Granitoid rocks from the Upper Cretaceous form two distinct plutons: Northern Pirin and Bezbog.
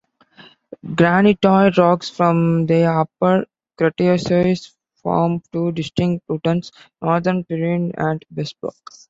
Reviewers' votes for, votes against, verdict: 1, 2, rejected